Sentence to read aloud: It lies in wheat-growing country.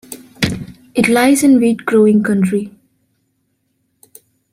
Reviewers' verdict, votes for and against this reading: accepted, 2, 0